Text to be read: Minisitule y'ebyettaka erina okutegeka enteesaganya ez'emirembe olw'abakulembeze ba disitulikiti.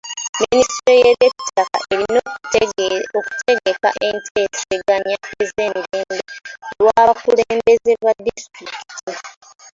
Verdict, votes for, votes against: rejected, 0, 2